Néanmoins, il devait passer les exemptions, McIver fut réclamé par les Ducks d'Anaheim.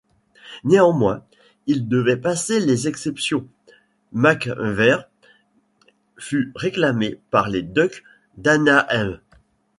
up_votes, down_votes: 0, 2